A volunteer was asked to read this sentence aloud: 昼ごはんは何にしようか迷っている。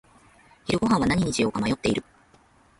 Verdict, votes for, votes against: rejected, 0, 3